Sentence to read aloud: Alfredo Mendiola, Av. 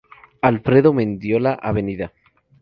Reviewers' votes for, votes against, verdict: 2, 0, accepted